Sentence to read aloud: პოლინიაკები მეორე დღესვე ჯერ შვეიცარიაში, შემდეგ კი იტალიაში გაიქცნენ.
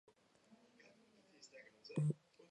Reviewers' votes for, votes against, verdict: 0, 2, rejected